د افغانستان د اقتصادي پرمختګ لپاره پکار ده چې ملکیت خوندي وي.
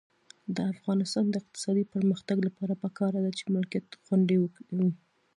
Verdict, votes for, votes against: accepted, 2, 1